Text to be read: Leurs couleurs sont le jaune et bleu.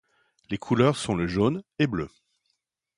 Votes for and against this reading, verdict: 0, 2, rejected